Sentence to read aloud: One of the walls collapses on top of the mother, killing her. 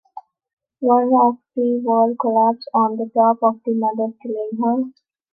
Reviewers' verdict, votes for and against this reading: rejected, 0, 2